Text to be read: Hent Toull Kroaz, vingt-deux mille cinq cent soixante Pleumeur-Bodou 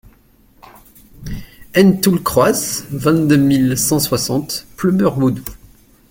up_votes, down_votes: 0, 2